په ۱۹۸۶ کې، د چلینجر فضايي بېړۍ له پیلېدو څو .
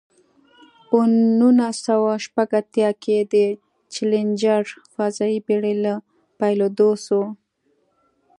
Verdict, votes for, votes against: rejected, 0, 2